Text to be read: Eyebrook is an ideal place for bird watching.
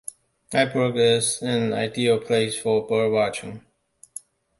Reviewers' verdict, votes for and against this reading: accepted, 2, 0